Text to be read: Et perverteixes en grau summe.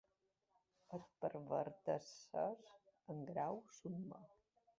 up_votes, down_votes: 1, 2